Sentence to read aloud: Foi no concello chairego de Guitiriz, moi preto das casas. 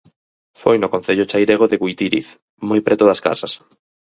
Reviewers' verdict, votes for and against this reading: rejected, 0, 4